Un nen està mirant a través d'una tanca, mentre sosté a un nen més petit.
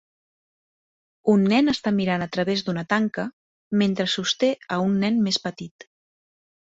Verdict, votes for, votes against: accepted, 3, 0